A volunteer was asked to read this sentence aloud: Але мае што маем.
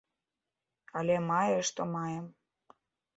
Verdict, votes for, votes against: accepted, 3, 0